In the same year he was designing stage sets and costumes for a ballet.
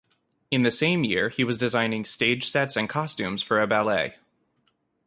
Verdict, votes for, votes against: accepted, 2, 0